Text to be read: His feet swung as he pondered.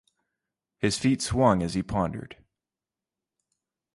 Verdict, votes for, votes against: accepted, 2, 0